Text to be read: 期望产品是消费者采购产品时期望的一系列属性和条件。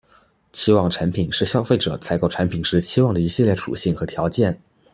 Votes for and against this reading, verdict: 2, 0, accepted